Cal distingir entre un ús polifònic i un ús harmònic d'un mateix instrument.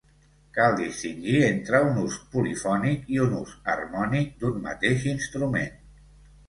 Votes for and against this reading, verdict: 2, 0, accepted